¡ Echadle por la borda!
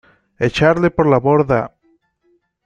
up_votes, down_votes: 2, 1